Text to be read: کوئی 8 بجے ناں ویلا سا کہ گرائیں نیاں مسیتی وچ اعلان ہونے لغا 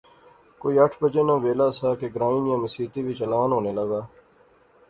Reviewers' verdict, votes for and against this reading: rejected, 0, 2